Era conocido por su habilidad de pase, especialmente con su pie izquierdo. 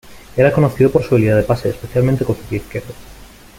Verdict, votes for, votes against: accepted, 2, 0